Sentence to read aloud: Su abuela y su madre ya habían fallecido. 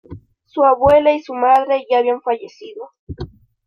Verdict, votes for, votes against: accepted, 2, 0